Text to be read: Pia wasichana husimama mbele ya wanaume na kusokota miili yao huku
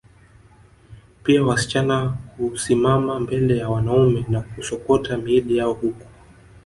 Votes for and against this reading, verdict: 0, 2, rejected